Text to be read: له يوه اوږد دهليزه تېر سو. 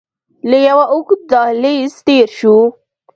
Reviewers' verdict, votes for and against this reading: rejected, 1, 2